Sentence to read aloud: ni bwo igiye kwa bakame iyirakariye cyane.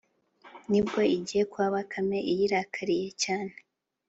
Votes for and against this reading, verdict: 3, 0, accepted